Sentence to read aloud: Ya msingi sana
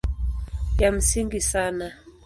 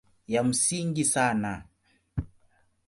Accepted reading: second